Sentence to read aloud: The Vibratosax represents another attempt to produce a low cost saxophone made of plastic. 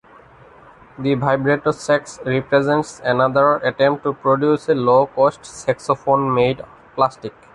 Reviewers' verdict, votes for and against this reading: rejected, 1, 2